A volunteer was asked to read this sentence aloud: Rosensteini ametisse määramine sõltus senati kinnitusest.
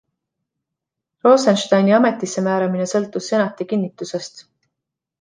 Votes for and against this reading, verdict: 2, 0, accepted